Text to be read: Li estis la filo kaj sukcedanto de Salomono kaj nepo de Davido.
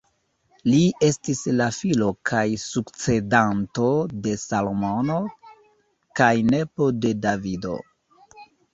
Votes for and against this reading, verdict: 2, 1, accepted